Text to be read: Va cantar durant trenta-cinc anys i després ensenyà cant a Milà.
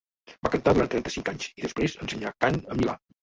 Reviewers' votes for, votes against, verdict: 1, 2, rejected